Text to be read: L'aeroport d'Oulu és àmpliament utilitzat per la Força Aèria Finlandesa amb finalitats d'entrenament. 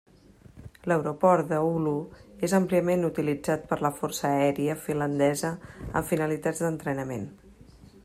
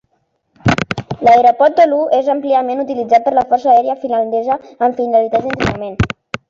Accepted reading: first